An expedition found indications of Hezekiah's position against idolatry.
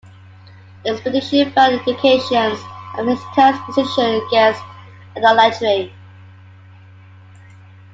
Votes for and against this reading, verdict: 1, 2, rejected